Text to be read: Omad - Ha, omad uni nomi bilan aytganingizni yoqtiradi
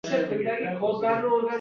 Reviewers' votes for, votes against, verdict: 0, 2, rejected